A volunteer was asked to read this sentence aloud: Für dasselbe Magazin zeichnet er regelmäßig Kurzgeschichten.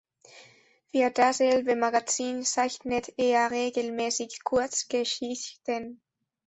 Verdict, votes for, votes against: accepted, 2, 0